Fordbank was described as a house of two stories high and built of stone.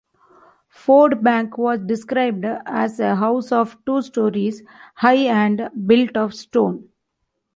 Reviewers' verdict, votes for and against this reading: accepted, 2, 0